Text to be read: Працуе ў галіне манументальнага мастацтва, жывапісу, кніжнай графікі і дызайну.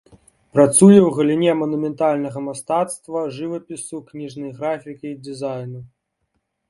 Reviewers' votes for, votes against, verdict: 2, 0, accepted